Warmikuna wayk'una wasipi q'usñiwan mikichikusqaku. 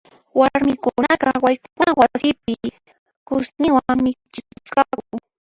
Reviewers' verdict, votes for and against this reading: rejected, 1, 2